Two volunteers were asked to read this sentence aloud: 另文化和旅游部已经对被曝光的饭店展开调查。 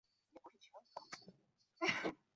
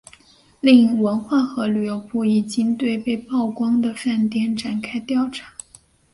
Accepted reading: second